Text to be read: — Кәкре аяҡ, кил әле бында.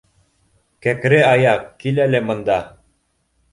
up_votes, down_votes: 1, 2